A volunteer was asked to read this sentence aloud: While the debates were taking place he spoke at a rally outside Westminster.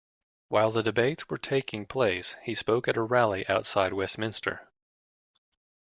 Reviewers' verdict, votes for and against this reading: accepted, 2, 0